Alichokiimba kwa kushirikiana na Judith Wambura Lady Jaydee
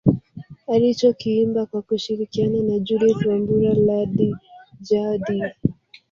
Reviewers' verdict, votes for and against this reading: rejected, 2, 3